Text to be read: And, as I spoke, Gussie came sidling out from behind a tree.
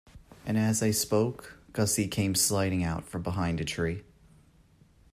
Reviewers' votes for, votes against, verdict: 2, 1, accepted